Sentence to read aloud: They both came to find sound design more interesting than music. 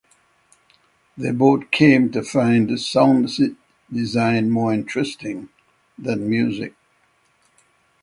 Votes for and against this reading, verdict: 3, 6, rejected